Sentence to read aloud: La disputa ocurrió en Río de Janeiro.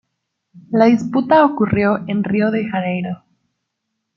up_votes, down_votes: 2, 0